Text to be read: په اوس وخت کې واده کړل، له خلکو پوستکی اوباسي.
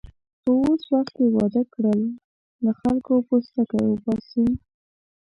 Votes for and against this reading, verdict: 1, 2, rejected